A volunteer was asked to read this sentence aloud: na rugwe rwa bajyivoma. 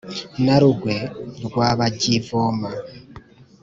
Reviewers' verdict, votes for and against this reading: accepted, 2, 0